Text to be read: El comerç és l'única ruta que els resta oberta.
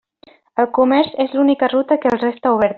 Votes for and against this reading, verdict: 0, 2, rejected